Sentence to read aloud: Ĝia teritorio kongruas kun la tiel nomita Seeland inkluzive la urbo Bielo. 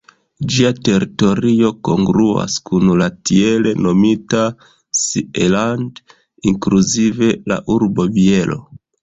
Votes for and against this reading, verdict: 1, 2, rejected